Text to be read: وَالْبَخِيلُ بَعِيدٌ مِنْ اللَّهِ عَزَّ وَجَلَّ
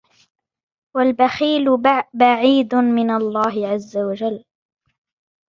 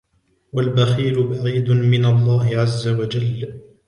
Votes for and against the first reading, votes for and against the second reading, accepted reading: 1, 2, 2, 0, second